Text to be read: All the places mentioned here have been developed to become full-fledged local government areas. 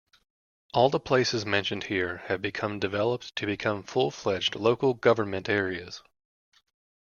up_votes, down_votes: 0, 2